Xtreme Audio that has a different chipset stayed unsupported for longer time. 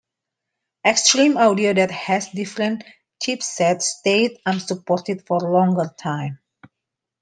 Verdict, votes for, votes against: accepted, 2, 0